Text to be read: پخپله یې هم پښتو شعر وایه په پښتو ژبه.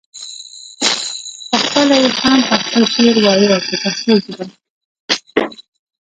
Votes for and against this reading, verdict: 0, 2, rejected